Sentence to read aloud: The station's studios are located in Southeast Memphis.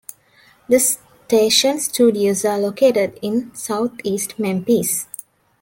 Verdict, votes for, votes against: rejected, 1, 2